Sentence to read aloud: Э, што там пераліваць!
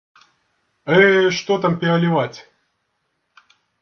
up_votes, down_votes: 2, 0